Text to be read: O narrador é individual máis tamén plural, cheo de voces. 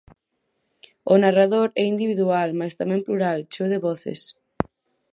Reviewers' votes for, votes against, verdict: 6, 0, accepted